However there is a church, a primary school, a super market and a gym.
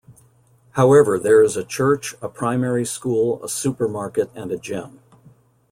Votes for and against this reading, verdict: 2, 0, accepted